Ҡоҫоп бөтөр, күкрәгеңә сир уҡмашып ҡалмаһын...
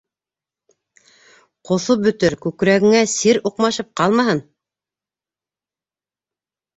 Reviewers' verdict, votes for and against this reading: accepted, 2, 0